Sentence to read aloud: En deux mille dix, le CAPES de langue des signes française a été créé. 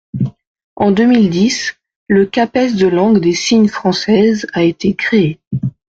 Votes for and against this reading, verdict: 2, 0, accepted